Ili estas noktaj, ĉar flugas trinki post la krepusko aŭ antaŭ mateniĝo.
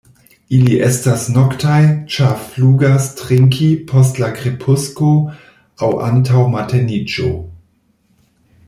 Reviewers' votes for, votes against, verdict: 2, 0, accepted